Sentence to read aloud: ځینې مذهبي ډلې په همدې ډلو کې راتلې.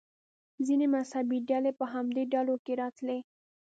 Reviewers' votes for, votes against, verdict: 2, 0, accepted